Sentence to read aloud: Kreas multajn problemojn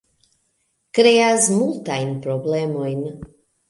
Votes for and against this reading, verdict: 2, 1, accepted